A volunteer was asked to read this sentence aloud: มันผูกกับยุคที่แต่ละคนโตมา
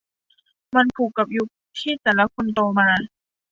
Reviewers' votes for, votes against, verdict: 2, 0, accepted